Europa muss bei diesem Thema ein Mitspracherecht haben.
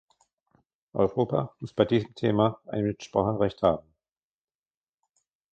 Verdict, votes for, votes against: rejected, 1, 2